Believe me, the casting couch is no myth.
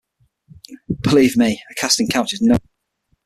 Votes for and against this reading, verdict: 0, 6, rejected